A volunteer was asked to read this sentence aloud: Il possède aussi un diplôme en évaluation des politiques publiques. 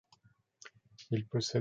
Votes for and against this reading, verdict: 0, 2, rejected